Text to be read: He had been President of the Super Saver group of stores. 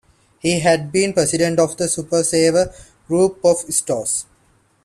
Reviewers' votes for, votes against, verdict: 2, 0, accepted